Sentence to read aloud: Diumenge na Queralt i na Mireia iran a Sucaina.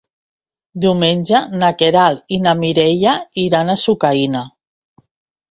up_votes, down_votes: 1, 2